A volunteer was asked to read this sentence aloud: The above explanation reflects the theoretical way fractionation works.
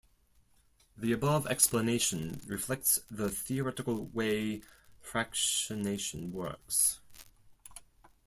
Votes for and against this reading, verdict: 0, 4, rejected